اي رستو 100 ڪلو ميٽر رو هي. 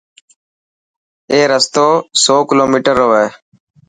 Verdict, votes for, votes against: rejected, 0, 2